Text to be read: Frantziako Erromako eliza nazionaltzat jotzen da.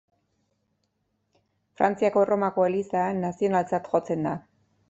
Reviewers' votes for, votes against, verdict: 2, 0, accepted